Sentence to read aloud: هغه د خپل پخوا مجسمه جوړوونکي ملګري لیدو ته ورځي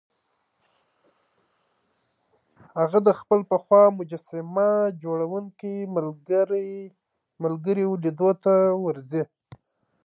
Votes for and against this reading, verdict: 0, 2, rejected